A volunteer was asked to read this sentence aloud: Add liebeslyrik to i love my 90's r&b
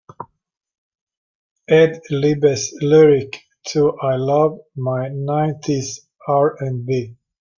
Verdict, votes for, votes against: rejected, 0, 2